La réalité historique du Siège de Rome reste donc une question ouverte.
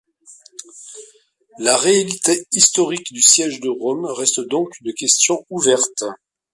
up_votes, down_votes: 2, 0